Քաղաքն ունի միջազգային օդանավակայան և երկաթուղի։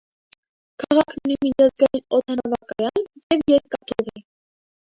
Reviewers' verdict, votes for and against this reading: rejected, 0, 2